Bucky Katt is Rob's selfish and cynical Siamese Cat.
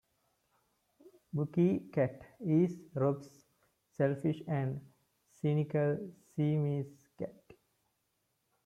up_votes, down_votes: 2, 0